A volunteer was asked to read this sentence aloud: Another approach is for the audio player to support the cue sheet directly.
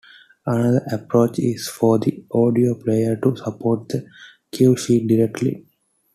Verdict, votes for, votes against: accepted, 2, 0